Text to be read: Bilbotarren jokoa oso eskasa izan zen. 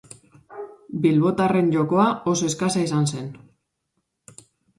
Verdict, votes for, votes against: accepted, 2, 1